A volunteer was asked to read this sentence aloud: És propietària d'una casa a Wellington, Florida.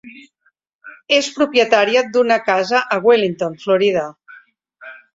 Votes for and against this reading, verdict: 3, 1, accepted